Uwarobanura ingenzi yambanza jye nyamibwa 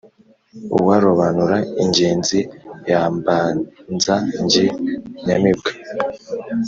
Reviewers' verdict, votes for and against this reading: accepted, 2, 0